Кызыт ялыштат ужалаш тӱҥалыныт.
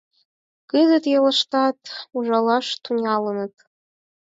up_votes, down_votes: 4, 2